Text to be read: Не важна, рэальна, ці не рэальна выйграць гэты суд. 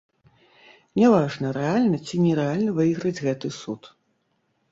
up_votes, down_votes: 1, 2